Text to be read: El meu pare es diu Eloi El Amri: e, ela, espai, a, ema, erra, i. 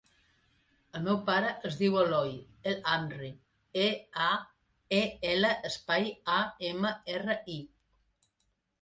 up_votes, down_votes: 0, 2